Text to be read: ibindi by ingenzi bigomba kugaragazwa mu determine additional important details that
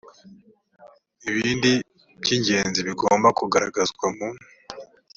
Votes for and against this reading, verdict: 0, 3, rejected